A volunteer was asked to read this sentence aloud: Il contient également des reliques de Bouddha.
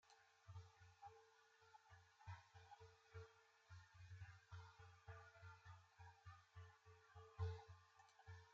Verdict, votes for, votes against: rejected, 0, 2